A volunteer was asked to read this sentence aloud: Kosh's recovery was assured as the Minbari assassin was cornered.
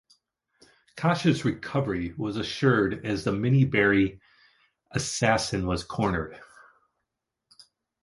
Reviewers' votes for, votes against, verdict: 2, 1, accepted